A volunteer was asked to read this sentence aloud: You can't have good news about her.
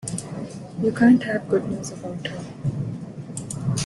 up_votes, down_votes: 2, 0